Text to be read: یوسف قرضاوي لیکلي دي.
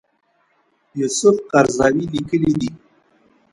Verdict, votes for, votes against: accepted, 2, 0